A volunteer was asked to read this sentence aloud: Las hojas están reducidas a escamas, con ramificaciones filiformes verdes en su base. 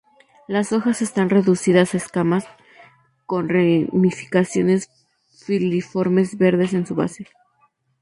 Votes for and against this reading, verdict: 0, 2, rejected